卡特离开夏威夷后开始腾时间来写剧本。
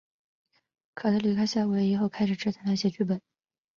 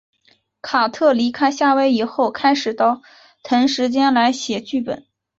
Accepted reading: second